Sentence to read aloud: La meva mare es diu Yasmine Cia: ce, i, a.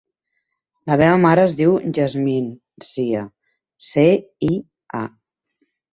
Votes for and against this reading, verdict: 2, 0, accepted